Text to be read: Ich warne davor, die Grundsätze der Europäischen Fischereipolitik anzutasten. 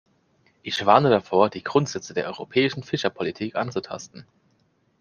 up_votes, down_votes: 0, 2